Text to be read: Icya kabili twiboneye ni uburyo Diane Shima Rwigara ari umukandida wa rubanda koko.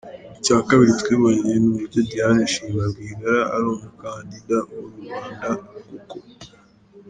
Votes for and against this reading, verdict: 2, 1, accepted